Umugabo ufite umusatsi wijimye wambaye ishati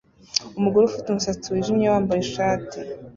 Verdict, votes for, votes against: rejected, 1, 2